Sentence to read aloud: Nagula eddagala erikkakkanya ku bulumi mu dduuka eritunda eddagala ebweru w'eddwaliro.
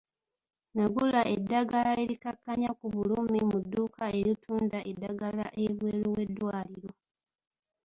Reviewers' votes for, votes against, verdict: 2, 0, accepted